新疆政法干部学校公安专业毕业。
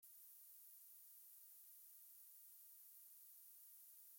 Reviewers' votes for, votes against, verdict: 0, 2, rejected